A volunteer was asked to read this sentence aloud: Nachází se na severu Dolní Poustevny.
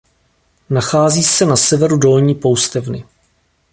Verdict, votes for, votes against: accepted, 2, 0